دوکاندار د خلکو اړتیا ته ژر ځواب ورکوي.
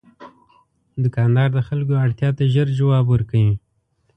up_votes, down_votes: 2, 0